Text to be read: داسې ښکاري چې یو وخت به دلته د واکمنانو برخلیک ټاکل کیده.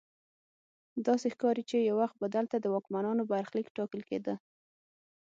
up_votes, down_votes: 6, 0